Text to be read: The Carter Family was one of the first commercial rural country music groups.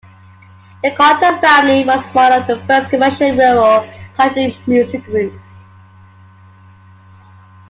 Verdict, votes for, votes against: accepted, 2, 1